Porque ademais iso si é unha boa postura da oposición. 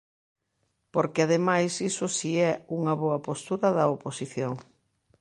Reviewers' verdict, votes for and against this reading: accepted, 2, 0